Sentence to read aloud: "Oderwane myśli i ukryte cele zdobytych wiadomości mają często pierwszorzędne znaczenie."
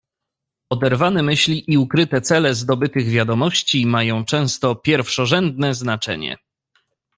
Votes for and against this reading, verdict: 2, 0, accepted